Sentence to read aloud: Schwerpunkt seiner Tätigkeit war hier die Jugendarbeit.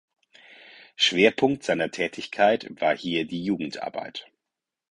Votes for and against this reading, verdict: 4, 0, accepted